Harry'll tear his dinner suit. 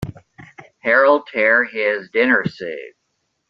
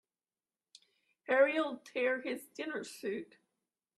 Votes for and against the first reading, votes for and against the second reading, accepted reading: 1, 2, 3, 0, second